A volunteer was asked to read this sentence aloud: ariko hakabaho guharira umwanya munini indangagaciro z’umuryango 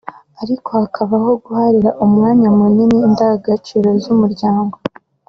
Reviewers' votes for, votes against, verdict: 2, 0, accepted